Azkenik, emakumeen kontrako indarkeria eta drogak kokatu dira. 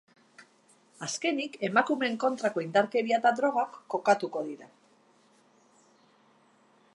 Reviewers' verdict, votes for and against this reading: rejected, 0, 2